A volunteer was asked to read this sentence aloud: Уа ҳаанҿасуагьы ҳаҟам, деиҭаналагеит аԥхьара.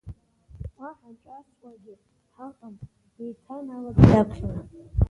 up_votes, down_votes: 2, 0